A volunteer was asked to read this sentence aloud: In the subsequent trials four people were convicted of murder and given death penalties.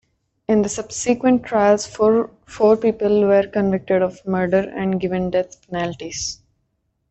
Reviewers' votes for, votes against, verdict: 0, 2, rejected